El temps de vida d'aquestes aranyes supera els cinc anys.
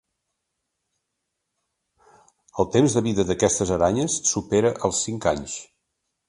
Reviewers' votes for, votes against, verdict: 2, 0, accepted